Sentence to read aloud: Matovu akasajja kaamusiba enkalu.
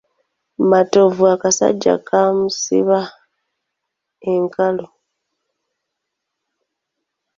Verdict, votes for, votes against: accepted, 2, 0